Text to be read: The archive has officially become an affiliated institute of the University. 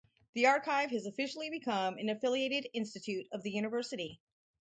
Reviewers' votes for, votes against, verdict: 4, 0, accepted